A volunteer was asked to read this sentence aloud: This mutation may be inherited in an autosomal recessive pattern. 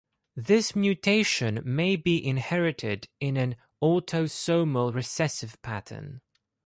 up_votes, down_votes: 2, 0